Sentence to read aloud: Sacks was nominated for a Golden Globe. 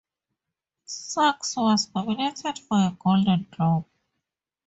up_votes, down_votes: 0, 2